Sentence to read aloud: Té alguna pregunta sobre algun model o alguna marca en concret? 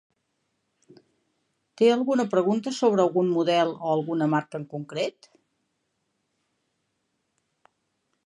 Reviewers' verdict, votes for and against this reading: accepted, 5, 1